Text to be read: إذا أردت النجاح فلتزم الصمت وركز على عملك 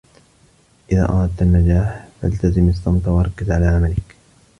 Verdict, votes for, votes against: rejected, 1, 2